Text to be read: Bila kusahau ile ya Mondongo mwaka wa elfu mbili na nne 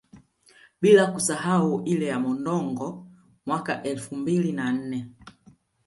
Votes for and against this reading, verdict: 2, 0, accepted